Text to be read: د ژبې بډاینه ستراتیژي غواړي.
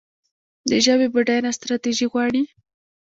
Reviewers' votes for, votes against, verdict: 0, 2, rejected